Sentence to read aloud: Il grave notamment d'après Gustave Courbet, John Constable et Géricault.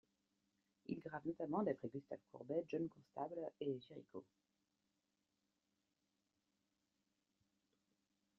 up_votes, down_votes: 2, 0